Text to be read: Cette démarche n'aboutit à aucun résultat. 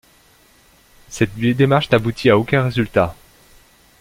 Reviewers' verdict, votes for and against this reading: rejected, 0, 2